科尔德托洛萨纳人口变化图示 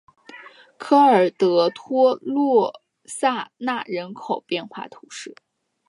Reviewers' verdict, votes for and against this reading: accepted, 2, 0